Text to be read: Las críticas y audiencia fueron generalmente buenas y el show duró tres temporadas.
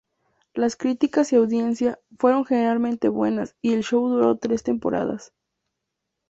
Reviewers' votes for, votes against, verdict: 2, 0, accepted